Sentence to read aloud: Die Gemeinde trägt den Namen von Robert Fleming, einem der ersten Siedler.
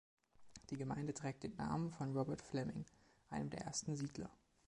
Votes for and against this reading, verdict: 2, 0, accepted